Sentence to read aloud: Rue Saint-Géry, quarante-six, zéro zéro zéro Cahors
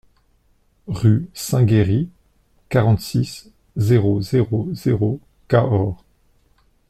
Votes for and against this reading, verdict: 2, 0, accepted